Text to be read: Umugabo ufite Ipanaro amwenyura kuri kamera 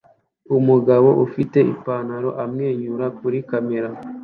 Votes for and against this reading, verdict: 2, 0, accepted